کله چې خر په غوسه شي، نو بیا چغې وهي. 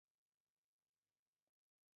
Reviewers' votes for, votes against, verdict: 4, 2, accepted